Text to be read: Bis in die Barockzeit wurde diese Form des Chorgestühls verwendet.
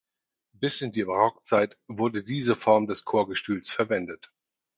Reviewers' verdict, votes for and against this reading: accepted, 4, 0